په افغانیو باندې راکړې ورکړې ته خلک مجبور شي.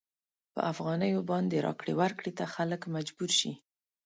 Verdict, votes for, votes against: accepted, 2, 0